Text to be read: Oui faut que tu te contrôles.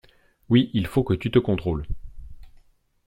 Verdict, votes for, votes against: accepted, 2, 0